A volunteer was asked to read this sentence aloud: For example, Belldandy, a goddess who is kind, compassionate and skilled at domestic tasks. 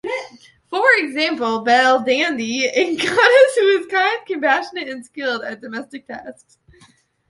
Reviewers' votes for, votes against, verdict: 2, 3, rejected